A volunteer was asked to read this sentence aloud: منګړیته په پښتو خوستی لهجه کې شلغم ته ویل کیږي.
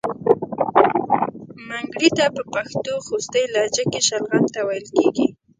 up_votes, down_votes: 1, 2